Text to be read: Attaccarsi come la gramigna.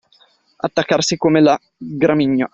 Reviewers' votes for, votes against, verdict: 2, 0, accepted